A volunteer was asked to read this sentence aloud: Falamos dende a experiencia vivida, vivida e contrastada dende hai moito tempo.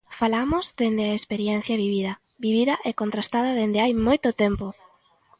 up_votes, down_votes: 2, 0